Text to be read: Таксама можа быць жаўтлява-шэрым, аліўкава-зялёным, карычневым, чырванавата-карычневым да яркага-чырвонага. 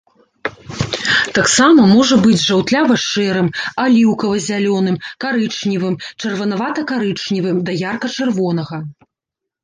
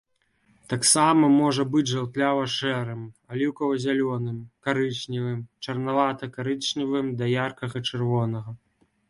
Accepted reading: second